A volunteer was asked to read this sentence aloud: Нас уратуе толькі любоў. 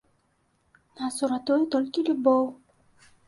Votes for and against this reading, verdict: 2, 0, accepted